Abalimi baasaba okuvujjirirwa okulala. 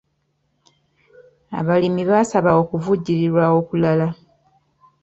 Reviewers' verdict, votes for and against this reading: accepted, 2, 1